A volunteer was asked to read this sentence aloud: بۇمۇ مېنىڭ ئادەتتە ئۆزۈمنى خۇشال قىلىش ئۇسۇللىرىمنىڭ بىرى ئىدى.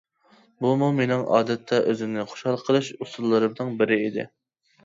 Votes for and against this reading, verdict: 2, 0, accepted